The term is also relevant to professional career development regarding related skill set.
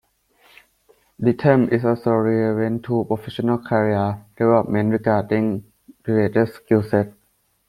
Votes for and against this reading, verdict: 0, 2, rejected